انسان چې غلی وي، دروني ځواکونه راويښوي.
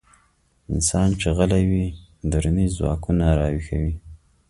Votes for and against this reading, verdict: 2, 0, accepted